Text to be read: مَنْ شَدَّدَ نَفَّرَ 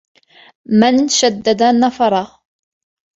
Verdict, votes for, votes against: rejected, 2, 3